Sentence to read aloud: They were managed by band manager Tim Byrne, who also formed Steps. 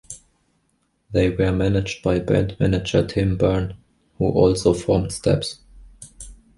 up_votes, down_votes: 2, 1